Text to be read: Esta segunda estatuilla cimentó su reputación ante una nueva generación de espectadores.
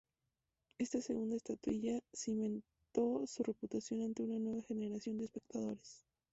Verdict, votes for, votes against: accepted, 2, 0